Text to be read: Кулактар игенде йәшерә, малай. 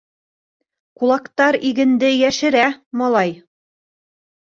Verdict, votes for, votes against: rejected, 0, 2